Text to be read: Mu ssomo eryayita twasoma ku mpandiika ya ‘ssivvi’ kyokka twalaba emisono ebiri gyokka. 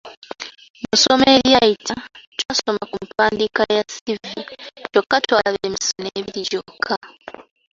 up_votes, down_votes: 3, 2